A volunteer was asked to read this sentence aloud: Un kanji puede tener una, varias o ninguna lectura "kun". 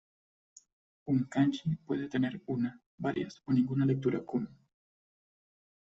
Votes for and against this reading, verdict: 2, 0, accepted